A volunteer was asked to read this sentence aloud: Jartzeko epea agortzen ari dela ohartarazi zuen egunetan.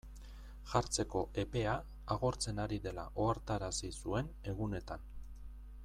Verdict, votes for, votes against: accepted, 2, 0